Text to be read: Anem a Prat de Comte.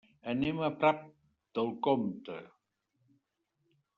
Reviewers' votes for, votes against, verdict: 0, 2, rejected